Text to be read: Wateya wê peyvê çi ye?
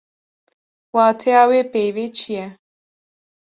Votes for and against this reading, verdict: 2, 0, accepted